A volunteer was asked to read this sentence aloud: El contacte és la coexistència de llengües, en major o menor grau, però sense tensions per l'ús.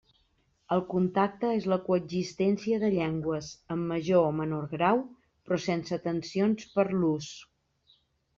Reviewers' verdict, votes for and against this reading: accepted, 3, 0